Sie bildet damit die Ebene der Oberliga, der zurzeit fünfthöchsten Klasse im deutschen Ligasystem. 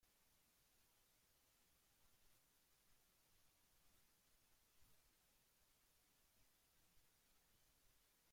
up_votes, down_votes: 1, 3